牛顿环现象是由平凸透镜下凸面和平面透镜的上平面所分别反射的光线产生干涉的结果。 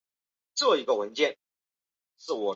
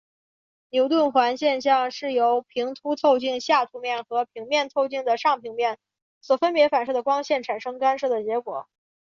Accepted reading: second